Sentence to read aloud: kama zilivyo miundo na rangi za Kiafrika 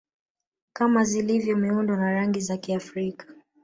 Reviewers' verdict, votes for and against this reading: rejected, 1, 2